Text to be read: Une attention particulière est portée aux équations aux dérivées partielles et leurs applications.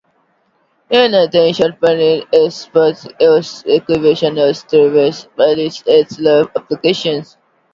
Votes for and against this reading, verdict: 0, 2, rejected